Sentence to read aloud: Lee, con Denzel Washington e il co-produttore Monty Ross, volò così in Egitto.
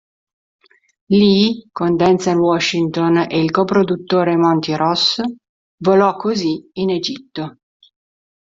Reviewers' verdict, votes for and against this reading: accepted, 3, 0